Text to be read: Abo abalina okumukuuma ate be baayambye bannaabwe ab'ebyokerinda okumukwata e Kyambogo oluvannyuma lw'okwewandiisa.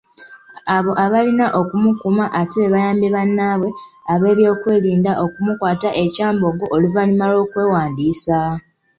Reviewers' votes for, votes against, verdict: 2, 0, accepted